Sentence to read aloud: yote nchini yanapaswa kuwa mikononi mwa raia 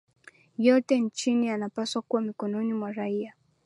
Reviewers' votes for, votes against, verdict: 2, 0, accepted